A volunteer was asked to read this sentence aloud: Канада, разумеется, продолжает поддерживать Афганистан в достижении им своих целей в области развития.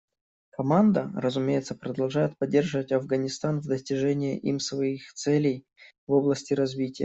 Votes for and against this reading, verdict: 0, 2, rejected